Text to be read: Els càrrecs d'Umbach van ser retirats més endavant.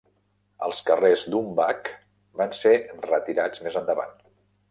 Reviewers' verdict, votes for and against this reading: rejected, 0, 2